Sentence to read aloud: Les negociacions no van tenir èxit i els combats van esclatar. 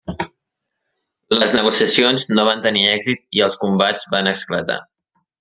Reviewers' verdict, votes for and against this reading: accepted, 3, 0